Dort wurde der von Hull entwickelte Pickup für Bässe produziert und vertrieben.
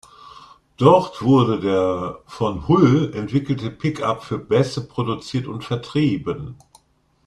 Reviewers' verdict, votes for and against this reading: accepted, 2, 0